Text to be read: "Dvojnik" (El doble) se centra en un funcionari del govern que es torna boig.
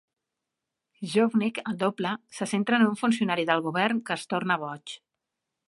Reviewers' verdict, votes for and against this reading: accepted, 2, 0